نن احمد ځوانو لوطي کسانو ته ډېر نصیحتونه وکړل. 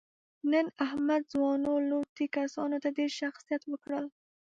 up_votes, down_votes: 1, 2